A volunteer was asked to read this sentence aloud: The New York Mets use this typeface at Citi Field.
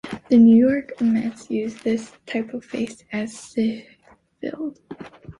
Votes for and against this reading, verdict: 0, 2, rejected